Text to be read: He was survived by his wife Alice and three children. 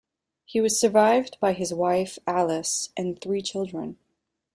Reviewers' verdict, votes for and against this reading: accepted, 2, 0